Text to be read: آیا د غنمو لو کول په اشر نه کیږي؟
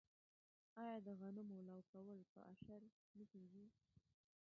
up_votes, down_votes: 1, 2